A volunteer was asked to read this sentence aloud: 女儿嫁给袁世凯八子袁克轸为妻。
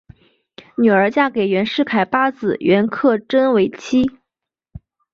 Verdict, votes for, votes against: rejected, 0, 2